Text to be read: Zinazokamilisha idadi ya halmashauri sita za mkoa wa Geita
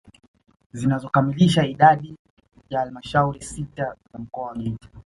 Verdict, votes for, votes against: accepted, 2, 0